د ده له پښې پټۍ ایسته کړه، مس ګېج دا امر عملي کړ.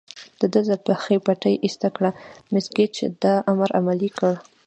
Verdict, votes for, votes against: rejected, 1, 2